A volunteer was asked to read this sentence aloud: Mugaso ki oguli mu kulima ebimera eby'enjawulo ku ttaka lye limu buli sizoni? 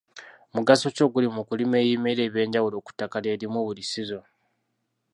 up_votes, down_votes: 2, 0